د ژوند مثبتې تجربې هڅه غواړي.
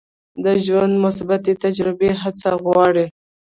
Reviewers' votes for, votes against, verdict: 1, 2, rejected